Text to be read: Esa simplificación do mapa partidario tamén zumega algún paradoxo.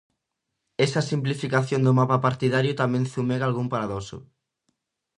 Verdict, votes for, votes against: accepted, 2, 0